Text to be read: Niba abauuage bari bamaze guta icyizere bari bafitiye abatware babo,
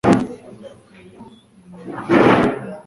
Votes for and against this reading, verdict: 1, 3, rejected